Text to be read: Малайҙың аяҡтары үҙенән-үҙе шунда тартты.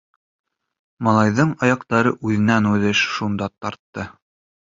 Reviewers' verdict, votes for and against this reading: rejected, 1, 2